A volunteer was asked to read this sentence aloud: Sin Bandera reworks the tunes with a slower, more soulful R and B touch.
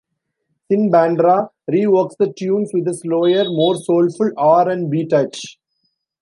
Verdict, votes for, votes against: rejected, 1, 2